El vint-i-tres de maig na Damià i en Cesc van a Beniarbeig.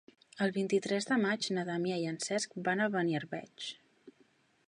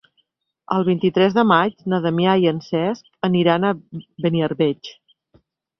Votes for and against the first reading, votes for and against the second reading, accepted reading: 3, 0, 2, 4, first